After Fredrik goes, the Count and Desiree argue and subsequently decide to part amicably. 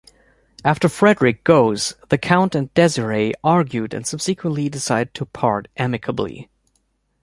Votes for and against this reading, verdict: 2, 0, accepted